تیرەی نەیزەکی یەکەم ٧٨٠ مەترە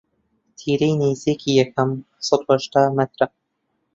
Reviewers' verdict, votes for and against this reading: rejected, 0, 2